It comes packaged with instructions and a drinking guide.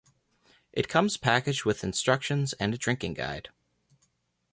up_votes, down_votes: 2, 0